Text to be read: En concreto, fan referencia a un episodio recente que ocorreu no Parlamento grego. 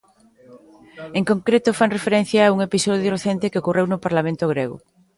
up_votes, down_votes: 2, 0